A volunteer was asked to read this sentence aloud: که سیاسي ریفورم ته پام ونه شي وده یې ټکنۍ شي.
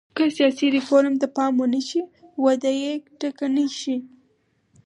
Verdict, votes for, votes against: accepted, 4, 0